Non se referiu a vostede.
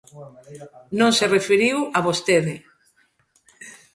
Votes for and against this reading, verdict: 1, 2, rejected